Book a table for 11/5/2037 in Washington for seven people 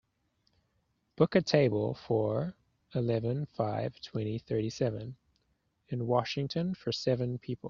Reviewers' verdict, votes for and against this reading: rejected, 0, 2